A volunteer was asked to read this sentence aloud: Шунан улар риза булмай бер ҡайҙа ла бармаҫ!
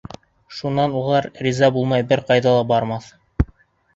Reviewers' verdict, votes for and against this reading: accepted, 2, 0